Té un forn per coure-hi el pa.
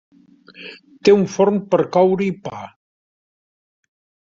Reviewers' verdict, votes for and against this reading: rejected, 0, 2